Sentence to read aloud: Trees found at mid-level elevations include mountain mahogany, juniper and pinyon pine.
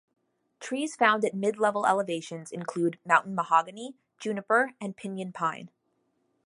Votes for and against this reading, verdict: 2, 0, accepted